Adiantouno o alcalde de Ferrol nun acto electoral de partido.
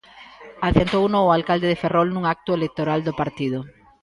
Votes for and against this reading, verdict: 0, 2, rejected